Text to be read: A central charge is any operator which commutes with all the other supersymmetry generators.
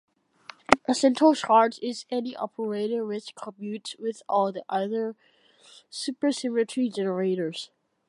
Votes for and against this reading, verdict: 2, 0, accepted